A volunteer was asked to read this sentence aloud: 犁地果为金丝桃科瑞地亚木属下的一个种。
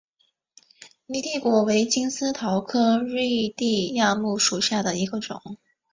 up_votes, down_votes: 1, 2